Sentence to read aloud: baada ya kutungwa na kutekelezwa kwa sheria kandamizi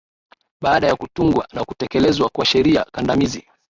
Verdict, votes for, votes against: accepted, 3, 0